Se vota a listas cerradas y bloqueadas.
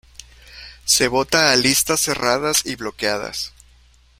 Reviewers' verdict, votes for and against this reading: rejected, 0, 2